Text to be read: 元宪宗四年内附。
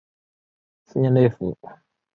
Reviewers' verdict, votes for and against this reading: rejected, 1, 2